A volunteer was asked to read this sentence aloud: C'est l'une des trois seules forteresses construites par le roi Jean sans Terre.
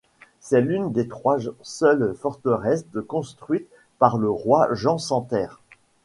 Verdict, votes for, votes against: rejected, 1, 2